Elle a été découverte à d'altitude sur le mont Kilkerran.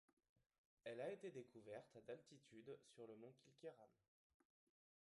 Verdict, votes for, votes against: rejected, 1, 2